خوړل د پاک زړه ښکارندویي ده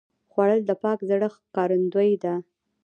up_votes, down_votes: 0, 2